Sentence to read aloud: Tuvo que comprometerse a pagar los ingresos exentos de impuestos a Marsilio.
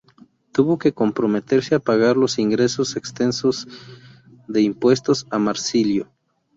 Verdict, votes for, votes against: rejected, 0, 2